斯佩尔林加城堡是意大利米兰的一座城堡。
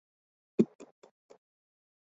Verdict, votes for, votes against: rejected, 2, 7